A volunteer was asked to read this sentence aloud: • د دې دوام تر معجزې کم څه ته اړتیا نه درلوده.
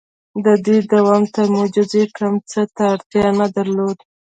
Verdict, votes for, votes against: rejected, 1, 2